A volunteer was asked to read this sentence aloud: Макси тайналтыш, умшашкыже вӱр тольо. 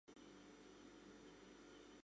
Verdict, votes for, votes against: accepted, 2, 1